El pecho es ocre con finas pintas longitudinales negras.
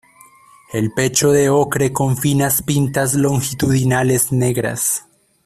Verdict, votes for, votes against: rejected, 0, 2